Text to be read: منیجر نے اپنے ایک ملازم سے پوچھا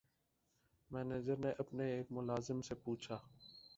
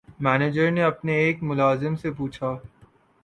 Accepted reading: second